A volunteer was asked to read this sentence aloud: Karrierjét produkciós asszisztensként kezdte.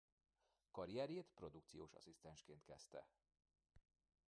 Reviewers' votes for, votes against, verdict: 0, 2, rejected